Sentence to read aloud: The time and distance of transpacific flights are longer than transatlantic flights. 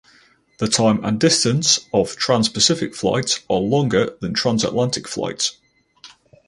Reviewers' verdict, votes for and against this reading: accepted, 4, 0